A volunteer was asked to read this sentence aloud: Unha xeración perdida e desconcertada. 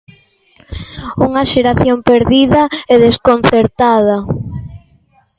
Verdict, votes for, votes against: rejected, 0, 2